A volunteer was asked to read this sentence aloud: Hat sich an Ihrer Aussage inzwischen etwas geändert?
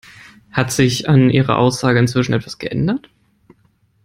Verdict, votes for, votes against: accepted, 2, 0